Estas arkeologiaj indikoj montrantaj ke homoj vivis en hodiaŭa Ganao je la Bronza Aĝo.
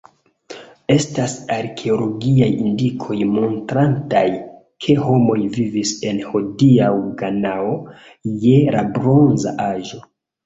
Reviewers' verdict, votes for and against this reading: rejected, 0, 2